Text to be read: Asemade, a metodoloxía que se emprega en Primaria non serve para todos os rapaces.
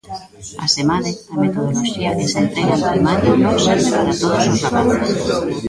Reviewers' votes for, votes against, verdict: 0, 2, rejected